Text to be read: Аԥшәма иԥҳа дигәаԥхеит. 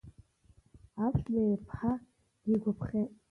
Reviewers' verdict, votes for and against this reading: accepted, 2, 0